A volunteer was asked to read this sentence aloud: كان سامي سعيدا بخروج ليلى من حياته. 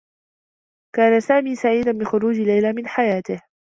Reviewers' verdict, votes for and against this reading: accepted, 2, 0